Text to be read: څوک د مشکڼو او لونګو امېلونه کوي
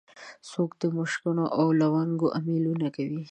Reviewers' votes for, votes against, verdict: 2, 0, accepted